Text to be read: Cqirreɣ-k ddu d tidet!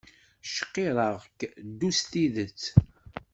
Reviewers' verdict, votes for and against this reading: rejected, 1, 2